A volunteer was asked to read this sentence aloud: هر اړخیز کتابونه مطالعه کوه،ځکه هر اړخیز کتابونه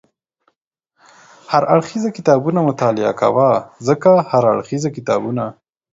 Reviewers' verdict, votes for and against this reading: accepted, 4, 0